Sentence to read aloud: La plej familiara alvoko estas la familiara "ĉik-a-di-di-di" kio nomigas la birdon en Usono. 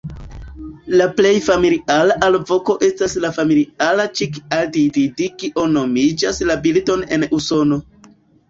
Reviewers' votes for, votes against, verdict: 0, 2, rejected